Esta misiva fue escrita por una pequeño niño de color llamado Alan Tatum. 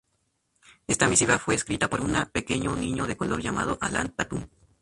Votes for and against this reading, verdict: 0, 2, rejected